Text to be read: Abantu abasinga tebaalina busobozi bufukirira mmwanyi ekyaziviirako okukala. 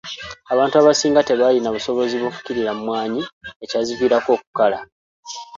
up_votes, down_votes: 2, 0